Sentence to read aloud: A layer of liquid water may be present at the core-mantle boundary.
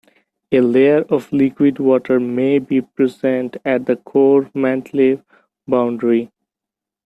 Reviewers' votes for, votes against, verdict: 0, 2, rejected